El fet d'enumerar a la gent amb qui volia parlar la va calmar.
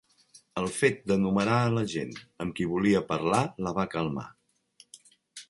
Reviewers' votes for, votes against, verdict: 1, 2, rejected